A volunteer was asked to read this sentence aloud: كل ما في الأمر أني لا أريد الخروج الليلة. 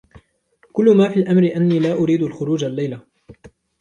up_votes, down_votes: 2, 0